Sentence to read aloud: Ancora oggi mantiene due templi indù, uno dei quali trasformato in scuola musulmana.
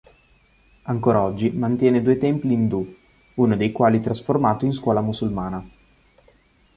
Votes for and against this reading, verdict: 2, 0, accepted